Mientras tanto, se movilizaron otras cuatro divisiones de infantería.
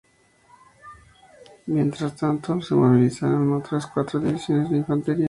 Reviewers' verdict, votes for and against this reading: rejected, 0, 2